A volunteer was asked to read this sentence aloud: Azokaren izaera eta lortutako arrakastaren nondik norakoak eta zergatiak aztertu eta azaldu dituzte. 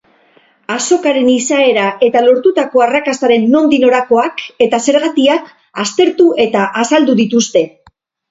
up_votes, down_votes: 4, 0